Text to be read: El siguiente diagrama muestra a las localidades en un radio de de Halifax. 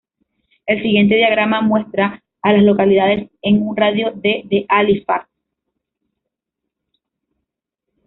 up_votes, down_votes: 2, 0